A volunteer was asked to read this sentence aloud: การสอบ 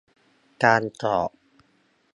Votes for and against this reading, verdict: 2, 0, accepted